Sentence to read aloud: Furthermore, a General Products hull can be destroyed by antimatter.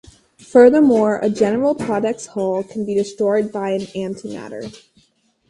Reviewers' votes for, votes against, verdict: 2, 2, rejected